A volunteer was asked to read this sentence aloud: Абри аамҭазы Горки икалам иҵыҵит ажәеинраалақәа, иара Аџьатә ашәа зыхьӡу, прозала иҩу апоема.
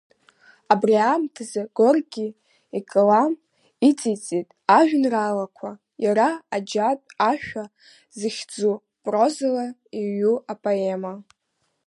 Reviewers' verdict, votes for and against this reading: accepted, 2, 1